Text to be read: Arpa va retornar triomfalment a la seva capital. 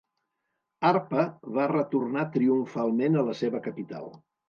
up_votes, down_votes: 3, 0